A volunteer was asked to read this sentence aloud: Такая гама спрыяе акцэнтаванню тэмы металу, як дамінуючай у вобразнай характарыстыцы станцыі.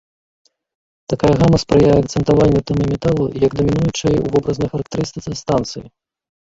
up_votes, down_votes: 0, 2